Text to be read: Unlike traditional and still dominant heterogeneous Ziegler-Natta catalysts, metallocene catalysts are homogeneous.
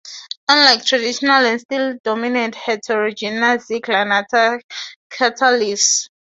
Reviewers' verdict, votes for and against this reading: rejected, 0, 2